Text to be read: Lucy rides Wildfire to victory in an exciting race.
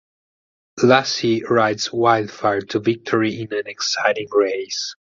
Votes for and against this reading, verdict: 0, 4, rejected